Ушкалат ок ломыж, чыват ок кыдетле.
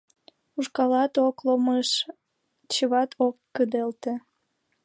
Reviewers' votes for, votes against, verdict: 0, 2, rejected